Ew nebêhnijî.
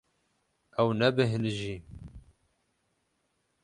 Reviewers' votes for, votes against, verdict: 12, 0, accepted